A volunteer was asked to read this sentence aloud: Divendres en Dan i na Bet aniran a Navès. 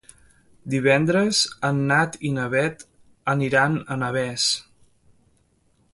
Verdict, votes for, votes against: rejected, 1, 3